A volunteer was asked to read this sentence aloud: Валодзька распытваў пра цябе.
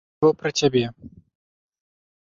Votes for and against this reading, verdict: 0, 2, rejected